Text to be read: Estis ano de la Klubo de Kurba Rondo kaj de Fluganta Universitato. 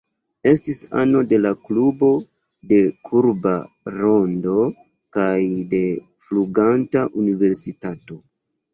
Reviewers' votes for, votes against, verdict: 2, 0, accepted